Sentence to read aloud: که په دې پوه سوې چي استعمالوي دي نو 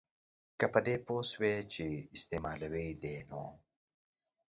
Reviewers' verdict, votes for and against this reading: accepted, 2, 0